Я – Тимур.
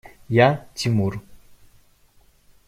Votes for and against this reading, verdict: 2, 0, accepted